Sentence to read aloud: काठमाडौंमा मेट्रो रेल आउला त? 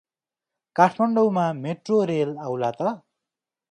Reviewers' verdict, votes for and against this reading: accepted, 2, 0